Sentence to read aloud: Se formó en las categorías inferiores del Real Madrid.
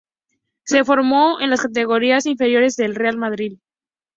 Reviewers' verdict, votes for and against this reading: accepted, 2, 0